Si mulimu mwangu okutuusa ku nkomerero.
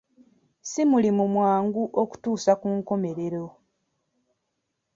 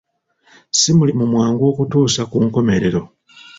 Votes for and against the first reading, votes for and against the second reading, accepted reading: 2, 0, 0, 2, first